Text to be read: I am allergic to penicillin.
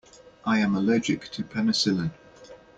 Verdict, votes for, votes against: accepted, 2, 0